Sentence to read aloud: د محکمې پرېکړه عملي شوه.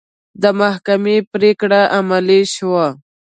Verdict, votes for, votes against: accepted, 3, 0